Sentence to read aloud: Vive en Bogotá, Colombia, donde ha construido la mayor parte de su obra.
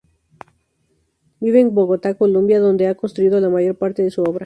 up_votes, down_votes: 2, 0